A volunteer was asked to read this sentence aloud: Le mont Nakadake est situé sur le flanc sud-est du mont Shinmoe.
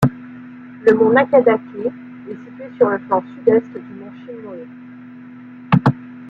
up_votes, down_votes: 1, 2